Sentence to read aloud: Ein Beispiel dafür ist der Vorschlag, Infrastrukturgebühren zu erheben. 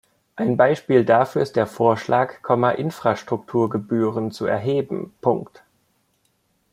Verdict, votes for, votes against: rejected, 0, 2